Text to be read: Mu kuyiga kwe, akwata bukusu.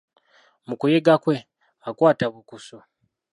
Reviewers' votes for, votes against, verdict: 2, 1, accepted